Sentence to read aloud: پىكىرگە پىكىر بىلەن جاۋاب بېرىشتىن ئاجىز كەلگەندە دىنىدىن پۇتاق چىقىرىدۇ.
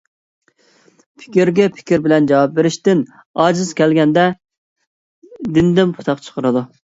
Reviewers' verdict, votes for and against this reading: accepted, 2, 0